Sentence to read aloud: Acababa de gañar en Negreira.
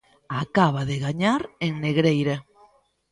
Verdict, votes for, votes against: rejected, 0, 2